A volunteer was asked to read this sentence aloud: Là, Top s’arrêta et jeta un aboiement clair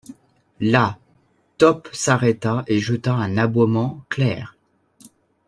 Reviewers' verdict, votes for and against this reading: accepted, 2, 0